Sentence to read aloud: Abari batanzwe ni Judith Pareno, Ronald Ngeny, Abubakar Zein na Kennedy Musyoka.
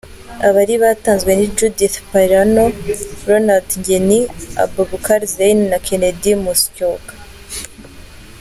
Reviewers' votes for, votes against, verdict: 2, 0, accepted